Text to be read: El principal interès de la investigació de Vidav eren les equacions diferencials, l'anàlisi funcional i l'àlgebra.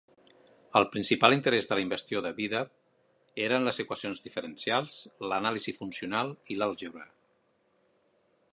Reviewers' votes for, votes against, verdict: 0, 2, rejected